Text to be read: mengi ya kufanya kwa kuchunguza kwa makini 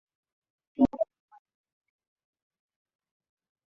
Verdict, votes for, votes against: rejected, 0, 2